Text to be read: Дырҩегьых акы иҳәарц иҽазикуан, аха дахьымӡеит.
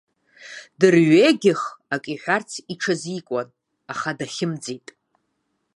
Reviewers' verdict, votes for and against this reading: accepted, 2, 0